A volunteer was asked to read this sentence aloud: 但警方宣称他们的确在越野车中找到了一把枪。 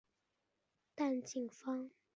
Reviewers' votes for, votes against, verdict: 0, 3, rejected